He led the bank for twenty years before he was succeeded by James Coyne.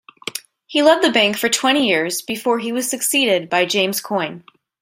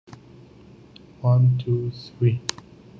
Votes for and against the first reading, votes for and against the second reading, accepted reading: 2, 0, 0, 2, first